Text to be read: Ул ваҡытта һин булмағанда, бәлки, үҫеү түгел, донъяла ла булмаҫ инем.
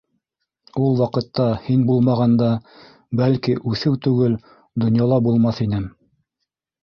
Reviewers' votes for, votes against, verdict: 0, 2, rejected